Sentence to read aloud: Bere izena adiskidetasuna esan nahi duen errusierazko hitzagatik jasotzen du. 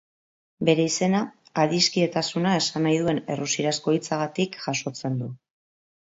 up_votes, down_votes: 3, 0